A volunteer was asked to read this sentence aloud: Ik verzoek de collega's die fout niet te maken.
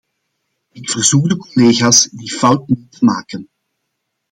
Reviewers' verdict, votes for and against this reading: rejected, 0, 2